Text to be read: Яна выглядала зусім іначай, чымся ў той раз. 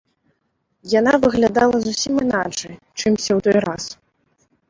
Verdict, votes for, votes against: rejected, 1, 2